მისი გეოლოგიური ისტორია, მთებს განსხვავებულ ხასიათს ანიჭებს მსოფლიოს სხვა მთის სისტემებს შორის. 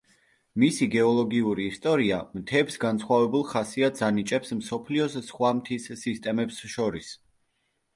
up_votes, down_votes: 2, 0